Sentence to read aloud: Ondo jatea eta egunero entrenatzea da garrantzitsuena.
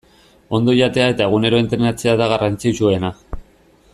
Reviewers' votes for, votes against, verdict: 2, 0, accepted